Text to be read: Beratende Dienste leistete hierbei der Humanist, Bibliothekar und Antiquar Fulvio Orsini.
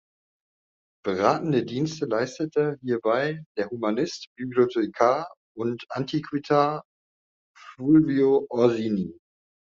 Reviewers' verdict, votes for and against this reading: rejected, 0, 2